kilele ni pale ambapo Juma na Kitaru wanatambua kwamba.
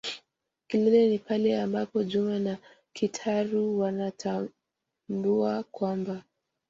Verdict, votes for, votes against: rejected, 1, 2